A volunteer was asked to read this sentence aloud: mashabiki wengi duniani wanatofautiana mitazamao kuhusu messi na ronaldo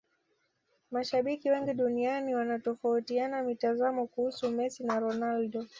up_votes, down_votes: 1, 2